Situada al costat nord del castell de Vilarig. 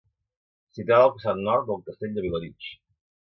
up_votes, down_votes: 0, 2